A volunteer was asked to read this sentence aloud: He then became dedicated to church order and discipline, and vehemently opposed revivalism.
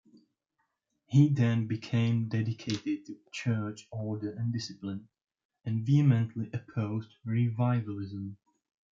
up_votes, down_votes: 1, 2